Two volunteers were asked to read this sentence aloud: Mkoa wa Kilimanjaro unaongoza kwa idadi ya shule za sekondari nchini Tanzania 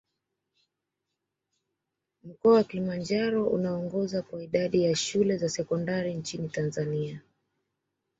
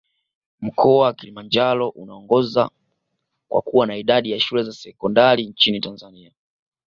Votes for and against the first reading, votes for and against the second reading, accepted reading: 2, 1, 1, 2, first